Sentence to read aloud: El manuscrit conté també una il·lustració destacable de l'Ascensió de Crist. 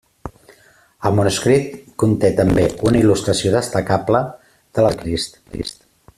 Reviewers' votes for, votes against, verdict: 0, 2, rejected